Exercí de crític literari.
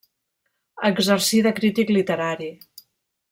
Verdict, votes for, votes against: accepted, 2, 0